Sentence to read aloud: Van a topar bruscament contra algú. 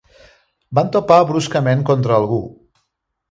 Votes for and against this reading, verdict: 1, 2, rejected